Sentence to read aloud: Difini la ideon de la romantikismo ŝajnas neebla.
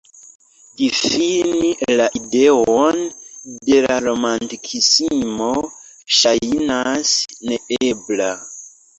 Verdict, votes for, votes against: rejected, 0, 2